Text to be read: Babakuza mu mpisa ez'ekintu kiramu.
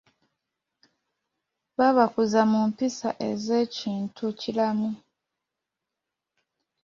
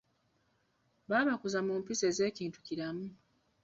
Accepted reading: first